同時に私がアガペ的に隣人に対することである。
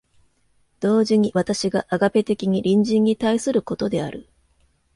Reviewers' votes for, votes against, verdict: 2, 0, accepted